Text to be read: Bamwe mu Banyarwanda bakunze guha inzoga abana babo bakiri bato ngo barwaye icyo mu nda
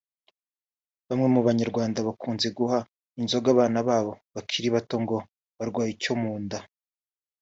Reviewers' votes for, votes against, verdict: 2, 0, accepted